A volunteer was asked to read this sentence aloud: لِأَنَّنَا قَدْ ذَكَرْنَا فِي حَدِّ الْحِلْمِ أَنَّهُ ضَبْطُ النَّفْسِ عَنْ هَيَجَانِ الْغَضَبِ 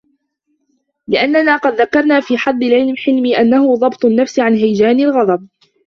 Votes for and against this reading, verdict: 2, 1, accepted